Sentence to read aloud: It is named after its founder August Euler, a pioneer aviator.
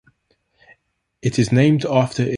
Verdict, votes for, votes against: rejected, 0, 2